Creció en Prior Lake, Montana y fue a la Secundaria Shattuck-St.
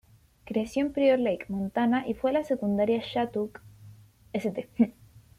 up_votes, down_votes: 1, 2